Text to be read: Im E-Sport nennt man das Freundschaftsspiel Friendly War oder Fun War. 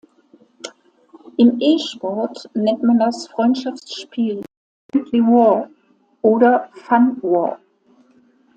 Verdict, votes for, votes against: rejected, 0, 2